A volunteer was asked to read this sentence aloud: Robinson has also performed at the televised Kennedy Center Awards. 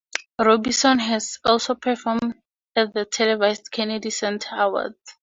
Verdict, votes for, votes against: accepted, 4, 0